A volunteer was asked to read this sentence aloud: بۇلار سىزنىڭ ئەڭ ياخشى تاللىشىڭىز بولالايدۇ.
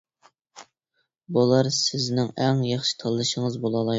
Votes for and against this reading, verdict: 1, 2, rejected